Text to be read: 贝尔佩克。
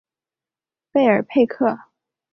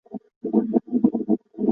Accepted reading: first